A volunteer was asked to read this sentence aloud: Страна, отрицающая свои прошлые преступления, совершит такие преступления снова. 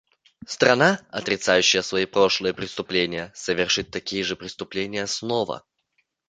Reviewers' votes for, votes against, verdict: 0, 2, rejected